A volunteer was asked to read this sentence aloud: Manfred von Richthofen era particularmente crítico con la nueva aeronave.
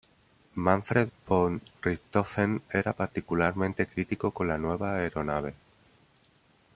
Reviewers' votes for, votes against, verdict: 2, 0, accepted